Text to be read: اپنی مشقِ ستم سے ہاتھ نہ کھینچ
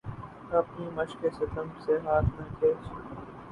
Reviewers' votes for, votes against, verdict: 0, 2, rejected